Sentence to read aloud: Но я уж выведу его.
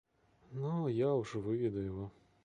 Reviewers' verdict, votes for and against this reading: accepted, 2, 0